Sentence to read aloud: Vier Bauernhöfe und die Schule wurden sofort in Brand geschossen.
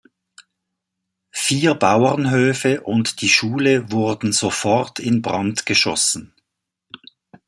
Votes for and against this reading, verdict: 2, 0, accepted